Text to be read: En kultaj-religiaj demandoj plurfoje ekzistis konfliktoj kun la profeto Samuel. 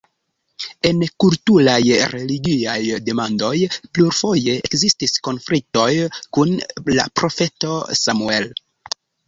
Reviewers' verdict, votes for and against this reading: rejected, 1, 2